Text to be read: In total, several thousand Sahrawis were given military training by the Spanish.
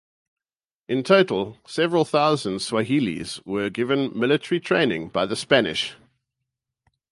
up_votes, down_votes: 0, 2